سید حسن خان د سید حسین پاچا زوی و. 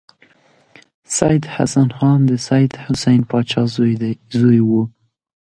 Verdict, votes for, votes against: rejected, 1, 2